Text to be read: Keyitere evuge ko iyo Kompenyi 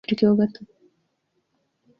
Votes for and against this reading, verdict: 0, 2, rejected